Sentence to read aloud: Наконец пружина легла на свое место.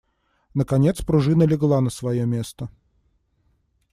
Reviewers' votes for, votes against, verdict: 2, 0, accepted